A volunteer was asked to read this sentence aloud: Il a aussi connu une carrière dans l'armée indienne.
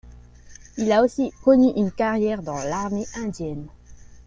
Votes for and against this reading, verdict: 2, 0, accepted